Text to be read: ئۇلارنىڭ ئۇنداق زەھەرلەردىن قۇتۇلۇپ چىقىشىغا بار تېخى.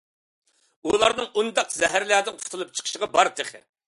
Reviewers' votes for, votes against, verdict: 2, 0, accepted